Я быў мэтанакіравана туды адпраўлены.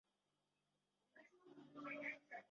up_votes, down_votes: 0, 2